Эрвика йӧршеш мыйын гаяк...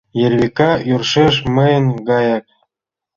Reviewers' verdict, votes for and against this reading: accepted, 2, 0